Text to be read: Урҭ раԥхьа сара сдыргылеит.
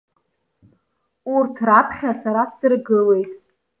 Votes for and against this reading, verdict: 1, 2, rejected